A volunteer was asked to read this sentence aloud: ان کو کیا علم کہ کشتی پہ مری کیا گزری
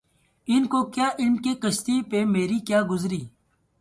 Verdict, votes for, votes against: accepted, 2, 0